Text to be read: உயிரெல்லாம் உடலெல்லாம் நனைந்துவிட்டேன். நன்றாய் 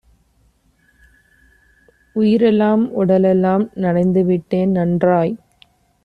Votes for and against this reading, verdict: 2, 0, accepted